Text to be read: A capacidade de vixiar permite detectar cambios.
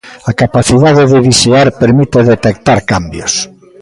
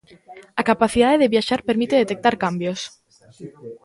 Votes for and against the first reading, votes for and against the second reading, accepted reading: 2, 0, 0, 2, first